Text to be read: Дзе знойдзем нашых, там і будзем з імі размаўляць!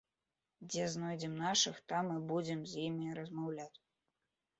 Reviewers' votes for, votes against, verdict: 2, 0, accepted